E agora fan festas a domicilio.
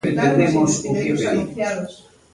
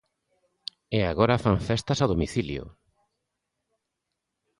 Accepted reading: second